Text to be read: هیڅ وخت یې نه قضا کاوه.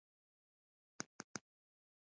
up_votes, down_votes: 0, 2